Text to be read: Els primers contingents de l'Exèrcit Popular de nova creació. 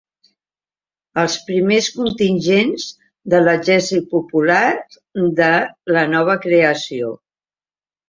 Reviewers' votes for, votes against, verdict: 0, 2, rejected